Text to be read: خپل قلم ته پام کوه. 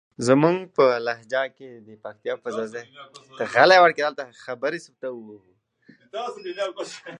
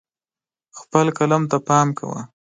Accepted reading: second